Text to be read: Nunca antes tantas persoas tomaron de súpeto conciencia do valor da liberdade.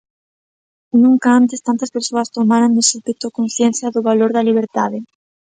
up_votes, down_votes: 0, 2